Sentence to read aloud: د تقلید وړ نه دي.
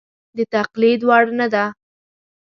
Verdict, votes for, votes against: rejected, 1, 2